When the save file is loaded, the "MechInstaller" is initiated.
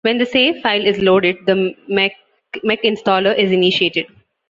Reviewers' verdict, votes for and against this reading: rejected, 0, 2